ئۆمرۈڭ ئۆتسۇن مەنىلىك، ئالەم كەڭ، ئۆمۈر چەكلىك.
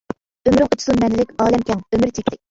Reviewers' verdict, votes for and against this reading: rejected, 0, 2